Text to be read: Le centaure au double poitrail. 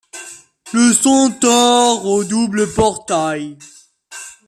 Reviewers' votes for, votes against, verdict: 0, 2, rejected